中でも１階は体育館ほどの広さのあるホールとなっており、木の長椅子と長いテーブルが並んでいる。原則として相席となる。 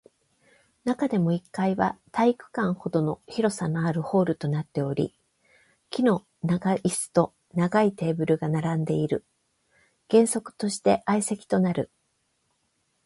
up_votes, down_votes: 0, 2